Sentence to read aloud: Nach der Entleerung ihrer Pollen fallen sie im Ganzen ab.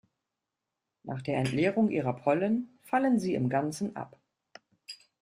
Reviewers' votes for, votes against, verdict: 2, 0, accepted